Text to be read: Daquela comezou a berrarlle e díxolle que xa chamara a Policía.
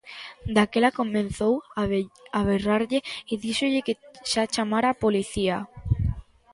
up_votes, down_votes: 0, 2